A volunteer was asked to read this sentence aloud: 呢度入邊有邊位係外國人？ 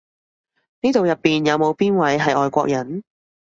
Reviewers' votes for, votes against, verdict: 1, 2, rejected